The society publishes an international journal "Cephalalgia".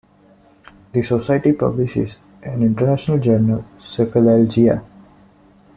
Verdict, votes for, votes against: accepted, 2, 0